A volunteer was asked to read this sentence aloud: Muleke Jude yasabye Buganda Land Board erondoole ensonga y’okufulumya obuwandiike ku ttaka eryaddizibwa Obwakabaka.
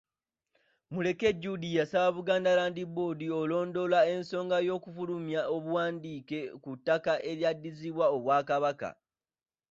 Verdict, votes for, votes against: rejected, 2, 3